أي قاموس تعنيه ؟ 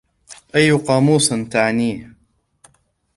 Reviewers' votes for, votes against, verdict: 2, 0, accepted